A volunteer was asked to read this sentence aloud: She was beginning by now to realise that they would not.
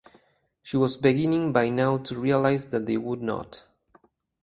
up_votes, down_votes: 4, 0